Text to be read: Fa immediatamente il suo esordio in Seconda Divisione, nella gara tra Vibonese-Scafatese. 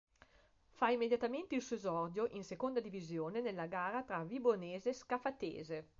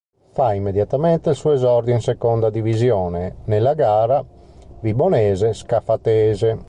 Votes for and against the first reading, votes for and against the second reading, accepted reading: 2, 0, 0, 2, first